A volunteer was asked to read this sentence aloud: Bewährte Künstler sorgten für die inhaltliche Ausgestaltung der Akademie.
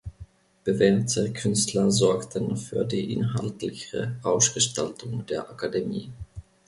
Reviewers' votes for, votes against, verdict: 2, 1, accepted